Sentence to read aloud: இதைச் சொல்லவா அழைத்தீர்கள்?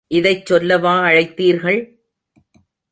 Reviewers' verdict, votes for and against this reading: accepted, 2, 0